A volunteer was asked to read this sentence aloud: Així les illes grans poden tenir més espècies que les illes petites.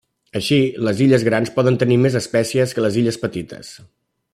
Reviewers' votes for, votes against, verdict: 3, 0, accepted